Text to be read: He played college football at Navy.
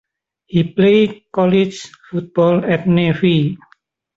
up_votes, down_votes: 1, 2